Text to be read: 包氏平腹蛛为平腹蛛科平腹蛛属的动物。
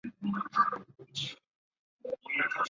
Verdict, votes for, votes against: rejected, 0, 2